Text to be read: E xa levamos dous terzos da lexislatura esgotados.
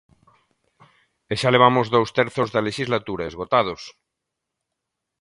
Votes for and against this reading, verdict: 2, 0, accepted